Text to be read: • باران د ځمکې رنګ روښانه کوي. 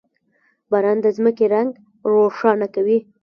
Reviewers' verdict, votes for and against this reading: rejected, 1, 2